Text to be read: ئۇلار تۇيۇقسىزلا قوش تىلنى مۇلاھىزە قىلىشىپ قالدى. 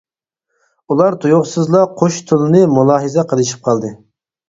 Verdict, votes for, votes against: accepted, 4, 0